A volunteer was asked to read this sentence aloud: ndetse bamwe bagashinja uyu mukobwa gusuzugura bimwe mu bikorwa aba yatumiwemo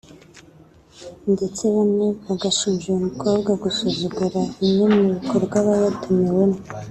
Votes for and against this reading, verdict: 2, 0, accepted